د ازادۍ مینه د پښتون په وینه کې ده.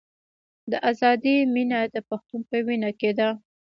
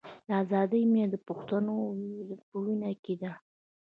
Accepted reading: first